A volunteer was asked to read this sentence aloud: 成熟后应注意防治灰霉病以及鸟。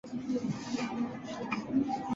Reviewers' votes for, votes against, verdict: 0, 2, rejected